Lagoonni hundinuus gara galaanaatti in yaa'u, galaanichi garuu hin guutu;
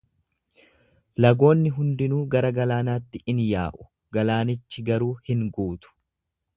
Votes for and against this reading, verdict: 0, 2, rejected